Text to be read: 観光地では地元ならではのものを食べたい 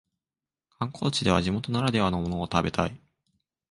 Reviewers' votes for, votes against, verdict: 10, 2, accepted